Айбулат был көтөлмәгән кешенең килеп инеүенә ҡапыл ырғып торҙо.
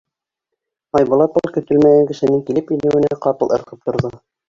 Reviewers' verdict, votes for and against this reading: rejected, 2, 3